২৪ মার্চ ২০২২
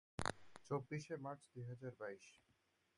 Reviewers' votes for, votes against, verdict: 0, 2, rejected